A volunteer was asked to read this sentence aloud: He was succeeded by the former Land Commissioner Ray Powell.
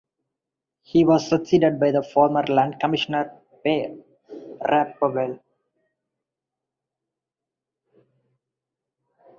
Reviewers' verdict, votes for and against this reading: rejected, 0, 2